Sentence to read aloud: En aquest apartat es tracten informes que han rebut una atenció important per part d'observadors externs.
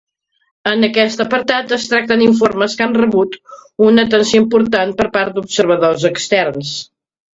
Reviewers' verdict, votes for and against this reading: accepted, 2, 0